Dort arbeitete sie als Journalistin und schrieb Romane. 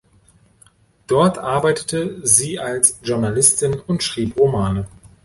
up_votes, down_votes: 2, 0